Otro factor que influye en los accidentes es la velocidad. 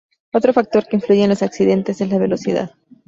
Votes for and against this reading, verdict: 2, 0, accepted